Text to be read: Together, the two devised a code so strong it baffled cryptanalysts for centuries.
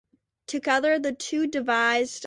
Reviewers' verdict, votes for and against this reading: rejected, 0, 2